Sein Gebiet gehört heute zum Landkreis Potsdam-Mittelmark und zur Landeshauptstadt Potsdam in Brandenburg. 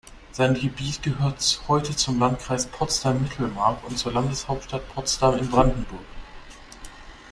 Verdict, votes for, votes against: rejected, 0, 2